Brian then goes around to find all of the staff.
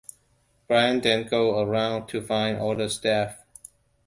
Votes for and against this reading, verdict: 1, 2, rejected